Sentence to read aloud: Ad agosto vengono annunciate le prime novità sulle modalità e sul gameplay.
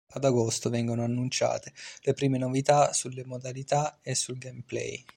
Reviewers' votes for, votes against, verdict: 2, 0, accepted